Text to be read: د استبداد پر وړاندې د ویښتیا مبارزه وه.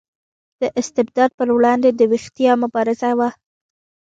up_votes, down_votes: 2, 1